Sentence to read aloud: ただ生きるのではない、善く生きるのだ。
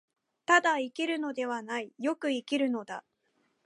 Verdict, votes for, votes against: accepted, 33, 2